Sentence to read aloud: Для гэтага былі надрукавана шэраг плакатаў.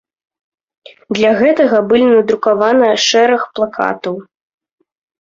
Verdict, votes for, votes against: accepted, 2, 0